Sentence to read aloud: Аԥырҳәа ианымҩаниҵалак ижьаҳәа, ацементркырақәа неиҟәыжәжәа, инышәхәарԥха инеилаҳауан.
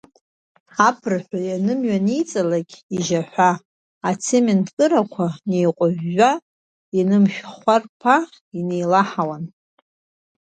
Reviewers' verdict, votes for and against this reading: accepted, 2, 1